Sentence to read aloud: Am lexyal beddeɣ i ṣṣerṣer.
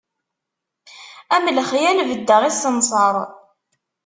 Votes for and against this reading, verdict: 0, 2, rejected